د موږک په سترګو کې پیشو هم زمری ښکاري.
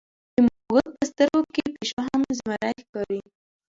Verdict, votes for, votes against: rejected, 1, 2